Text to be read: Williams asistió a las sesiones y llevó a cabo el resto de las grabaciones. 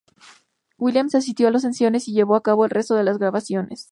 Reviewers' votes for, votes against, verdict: 2, 0, accepted